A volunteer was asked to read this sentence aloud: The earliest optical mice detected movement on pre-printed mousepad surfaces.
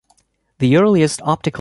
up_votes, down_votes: 0, 2